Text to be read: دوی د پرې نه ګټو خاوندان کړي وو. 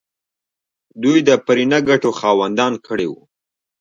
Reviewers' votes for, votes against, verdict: 0, 2, rejected